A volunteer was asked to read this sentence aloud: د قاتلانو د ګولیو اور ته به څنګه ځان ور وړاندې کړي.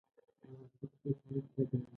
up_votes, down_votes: 0, 2